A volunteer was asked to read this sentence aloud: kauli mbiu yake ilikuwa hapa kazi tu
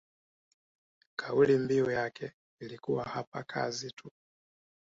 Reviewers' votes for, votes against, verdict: 2, 1, accepted